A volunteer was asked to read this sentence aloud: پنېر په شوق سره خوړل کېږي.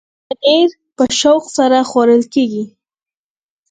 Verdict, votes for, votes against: accepted, 4, 2